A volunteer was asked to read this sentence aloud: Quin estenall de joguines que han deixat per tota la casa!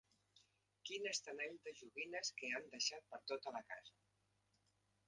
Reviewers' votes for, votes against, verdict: 0, 2, rejected